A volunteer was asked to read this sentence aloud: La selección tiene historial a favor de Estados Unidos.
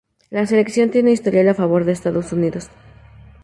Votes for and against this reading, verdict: 2, 0, accepted